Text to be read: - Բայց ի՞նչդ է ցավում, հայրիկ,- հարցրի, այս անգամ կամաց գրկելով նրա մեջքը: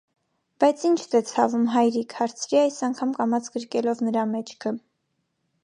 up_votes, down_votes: 2, 0